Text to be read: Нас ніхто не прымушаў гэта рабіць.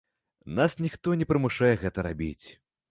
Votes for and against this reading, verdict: 0, 2, rejected